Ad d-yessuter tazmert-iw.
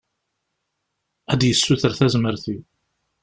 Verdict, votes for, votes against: accepted, 2, 0